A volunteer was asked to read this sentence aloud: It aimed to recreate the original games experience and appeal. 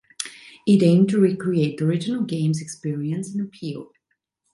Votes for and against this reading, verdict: 2, 0, accepted